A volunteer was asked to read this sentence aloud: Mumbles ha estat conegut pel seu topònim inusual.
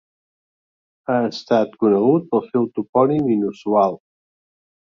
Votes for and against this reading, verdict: 0, 2, rejected